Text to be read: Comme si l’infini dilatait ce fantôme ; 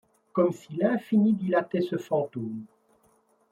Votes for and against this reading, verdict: 2, 0, accepted